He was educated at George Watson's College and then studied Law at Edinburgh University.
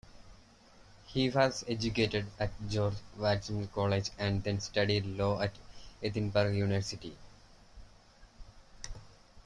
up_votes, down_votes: 2, 0